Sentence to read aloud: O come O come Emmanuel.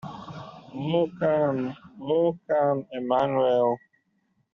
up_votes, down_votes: 0, 2